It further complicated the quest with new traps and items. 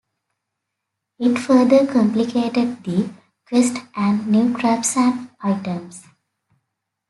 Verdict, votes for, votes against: rejected, 1, 2